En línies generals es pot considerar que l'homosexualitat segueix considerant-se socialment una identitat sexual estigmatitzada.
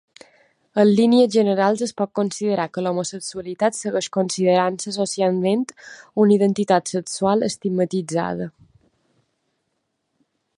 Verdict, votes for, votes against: accepted, 2, 0